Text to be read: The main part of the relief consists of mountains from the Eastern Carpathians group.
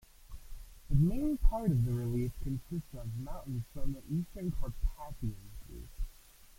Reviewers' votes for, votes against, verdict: 0, 2, rejected